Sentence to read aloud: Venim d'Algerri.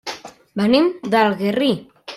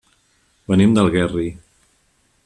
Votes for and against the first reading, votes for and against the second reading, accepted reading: 0, 2, 2, 0, second